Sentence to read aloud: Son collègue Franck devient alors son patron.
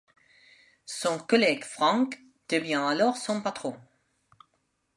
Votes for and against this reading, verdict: 2, 1, accepted